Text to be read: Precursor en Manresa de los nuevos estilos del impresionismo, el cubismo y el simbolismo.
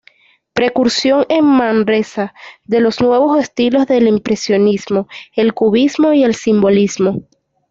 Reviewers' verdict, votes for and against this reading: rejected, 1, 2